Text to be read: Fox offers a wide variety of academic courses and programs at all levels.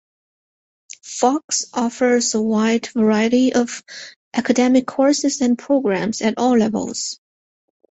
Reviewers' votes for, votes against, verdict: 2, 0, accepted